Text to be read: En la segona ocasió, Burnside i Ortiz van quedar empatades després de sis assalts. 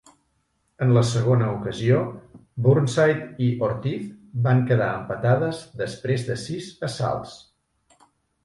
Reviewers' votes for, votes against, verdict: 3, 0, accepted